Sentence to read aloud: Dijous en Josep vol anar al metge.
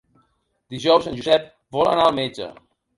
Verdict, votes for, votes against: rejected, 1, 2